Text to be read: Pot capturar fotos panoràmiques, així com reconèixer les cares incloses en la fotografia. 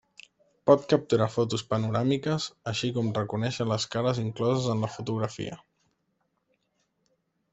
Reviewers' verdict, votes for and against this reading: accepted, 3, 0